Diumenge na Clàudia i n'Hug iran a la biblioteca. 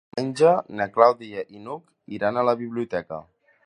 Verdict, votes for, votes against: rejected, 1, 2